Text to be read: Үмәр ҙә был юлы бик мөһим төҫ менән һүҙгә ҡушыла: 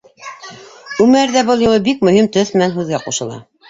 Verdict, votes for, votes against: rejected, 1, 2